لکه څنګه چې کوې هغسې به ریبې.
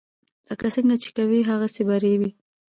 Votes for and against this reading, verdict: 2, 1, accepted